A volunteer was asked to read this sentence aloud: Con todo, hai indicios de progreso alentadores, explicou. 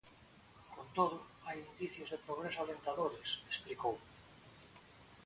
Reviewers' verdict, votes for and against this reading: rejected, 1, 2